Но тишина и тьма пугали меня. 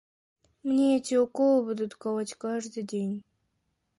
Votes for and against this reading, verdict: 0, 2, rejected